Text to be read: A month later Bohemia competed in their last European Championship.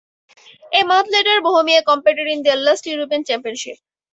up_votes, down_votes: 4, 0